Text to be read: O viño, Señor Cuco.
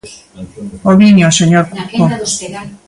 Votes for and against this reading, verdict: 0, 2, rejected